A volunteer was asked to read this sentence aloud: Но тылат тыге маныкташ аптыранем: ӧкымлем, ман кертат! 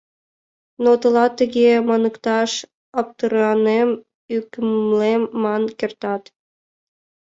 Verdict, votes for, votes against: rejected, 1, 2